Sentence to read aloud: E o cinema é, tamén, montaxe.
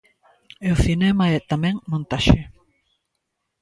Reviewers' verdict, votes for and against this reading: accepted, 2, 0